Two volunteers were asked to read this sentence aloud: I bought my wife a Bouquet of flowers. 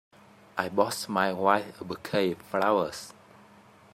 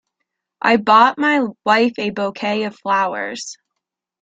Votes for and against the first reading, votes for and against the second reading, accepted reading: 1, 2, 2, 0, second